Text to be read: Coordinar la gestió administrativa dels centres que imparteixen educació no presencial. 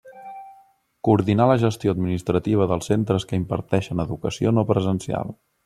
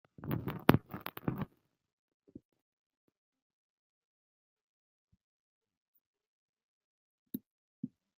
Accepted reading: first